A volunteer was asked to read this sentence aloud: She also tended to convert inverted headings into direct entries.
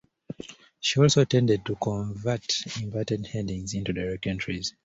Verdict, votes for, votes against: accepted, 2, 0